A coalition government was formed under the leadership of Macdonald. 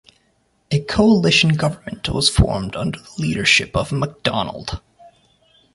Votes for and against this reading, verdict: 2, 1, accepted